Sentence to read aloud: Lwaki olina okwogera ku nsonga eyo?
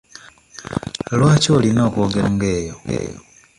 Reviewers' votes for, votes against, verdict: 1, 2, rejected